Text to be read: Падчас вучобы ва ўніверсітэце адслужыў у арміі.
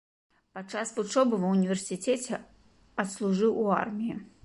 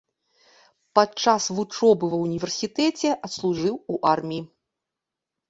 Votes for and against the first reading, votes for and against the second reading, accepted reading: 1, 2, 2, 0, second